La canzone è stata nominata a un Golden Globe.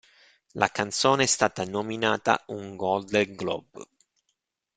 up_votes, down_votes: 0, 2